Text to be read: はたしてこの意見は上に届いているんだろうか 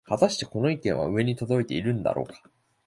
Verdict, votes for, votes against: accepted, 2, 0